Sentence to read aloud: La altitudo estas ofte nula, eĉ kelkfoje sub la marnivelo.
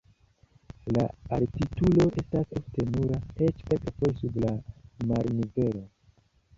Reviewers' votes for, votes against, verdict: 1, 2, rejected